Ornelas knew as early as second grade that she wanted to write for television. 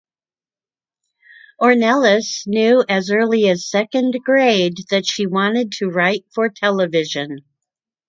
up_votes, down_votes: 2, 0